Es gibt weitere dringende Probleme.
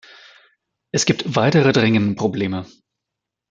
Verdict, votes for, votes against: accepted, 2, 1